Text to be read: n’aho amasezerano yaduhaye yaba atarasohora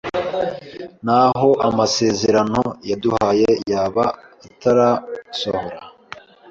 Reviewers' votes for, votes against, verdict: 1, 2, rejected